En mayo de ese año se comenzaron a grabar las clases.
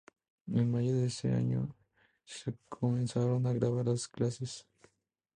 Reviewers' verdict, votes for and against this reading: accepted, 2, 0